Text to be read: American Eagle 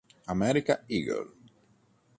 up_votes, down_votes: 2, 3